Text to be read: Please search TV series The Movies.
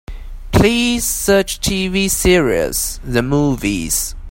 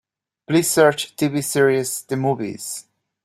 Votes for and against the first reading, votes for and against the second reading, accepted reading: 1, 2, 2, 0, second